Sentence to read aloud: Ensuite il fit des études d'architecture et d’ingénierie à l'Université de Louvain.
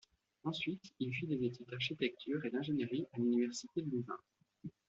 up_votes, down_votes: 2, 0